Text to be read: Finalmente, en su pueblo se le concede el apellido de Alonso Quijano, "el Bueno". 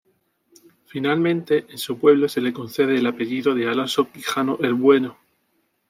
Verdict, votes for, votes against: accepted, 2, 0